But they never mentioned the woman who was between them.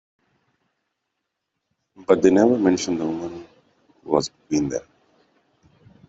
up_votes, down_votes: 1, 2